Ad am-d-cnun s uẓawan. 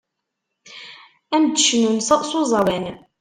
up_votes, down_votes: 0, 2